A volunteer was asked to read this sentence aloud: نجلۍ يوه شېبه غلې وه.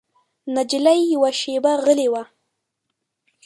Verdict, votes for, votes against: rejected, 0, 2